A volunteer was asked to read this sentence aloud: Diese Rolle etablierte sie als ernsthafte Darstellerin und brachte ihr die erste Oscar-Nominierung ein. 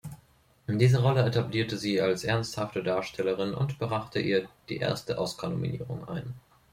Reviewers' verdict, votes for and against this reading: rejected, 1, 2